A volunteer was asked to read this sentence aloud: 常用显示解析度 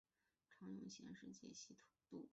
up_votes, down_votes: 0, 2